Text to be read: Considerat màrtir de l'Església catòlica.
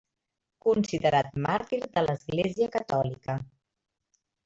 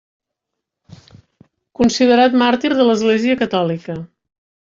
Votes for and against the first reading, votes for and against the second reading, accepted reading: 1, 2, 2, 0, second